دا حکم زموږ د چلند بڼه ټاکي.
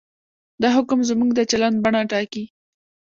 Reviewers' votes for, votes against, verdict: 2, 0, accepted